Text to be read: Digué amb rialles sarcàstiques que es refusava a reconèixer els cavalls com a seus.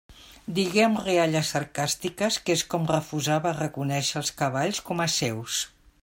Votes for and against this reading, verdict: 0, 2, rejected